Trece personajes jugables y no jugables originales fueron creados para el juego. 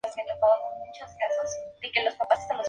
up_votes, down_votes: 0, 2